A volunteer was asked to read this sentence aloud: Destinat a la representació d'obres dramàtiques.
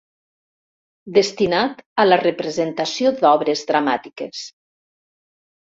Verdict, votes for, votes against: accepted, 2, 0